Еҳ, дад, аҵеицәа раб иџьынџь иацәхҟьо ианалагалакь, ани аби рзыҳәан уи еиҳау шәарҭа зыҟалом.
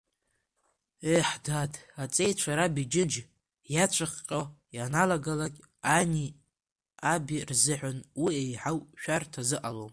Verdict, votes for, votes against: rejected, 0, 2